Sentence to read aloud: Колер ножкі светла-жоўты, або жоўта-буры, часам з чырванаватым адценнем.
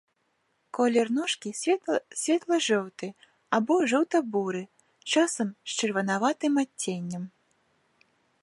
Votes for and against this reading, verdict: 1, 2, rejected